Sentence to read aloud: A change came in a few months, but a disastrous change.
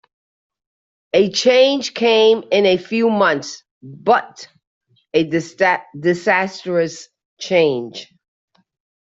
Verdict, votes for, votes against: rejected, 0, 2